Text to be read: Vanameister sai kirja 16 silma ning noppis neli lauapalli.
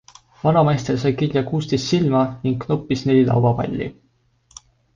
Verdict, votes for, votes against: rejected, 0, 2